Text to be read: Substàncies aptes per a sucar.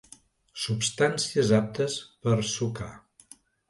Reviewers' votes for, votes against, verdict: 0, 2, rejected